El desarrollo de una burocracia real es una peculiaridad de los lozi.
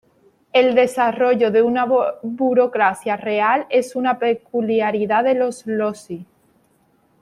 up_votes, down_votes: 1, 2